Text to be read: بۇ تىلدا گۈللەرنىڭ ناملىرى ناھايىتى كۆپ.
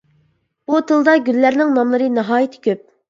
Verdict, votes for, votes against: accepted, 2, 0